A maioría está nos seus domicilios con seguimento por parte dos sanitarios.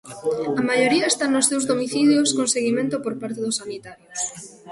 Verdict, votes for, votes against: accepted, 2, 0